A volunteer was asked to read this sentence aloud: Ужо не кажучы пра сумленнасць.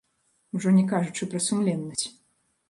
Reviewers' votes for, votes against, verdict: 1, 2, rejected